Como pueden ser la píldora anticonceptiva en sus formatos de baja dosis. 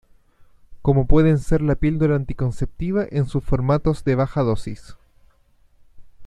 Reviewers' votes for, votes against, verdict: 2, 0, accepted